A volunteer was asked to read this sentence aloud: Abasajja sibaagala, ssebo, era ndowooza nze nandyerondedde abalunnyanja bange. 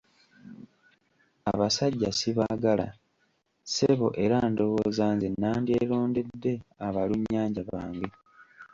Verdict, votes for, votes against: rejected, 1, 2